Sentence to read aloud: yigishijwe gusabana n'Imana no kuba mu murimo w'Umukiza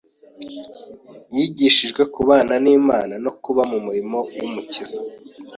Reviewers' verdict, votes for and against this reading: rejected, 1, 2